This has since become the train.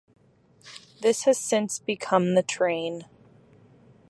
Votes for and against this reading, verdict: 2, 0, accepted